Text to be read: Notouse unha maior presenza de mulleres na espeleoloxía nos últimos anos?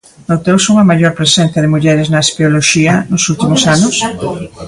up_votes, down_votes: 0, 2